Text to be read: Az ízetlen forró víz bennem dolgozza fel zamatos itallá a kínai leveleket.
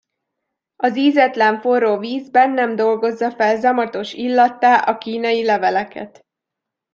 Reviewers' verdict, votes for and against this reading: rejected, 0, 2